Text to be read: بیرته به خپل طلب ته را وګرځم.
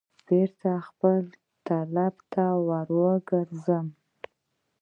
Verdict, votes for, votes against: rejected, 0, 2